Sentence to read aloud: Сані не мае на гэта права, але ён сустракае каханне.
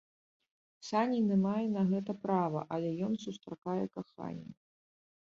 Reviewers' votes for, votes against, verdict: 0, 2, rejected